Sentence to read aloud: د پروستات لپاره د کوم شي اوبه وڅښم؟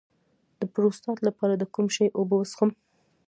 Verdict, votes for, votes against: accepted, 2, 0